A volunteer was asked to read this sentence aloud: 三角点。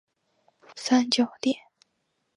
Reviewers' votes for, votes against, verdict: 1, 2, rejected